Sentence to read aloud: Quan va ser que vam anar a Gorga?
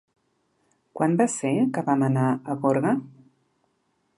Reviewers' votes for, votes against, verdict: 2, 0, accepted